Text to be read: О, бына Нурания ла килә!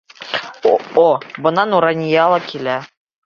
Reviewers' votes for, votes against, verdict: 1, 3, rejected